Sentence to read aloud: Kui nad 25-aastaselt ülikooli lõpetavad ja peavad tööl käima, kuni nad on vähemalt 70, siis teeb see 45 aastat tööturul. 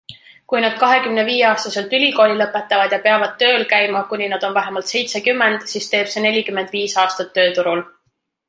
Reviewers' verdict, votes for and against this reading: rejected, 0, 2